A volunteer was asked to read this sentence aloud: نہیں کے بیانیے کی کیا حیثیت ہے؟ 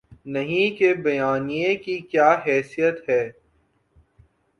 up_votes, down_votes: 2, 0